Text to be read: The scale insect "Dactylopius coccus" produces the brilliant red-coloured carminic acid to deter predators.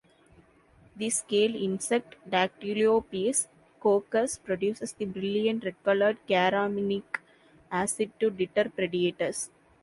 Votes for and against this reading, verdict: 3, 1, accepted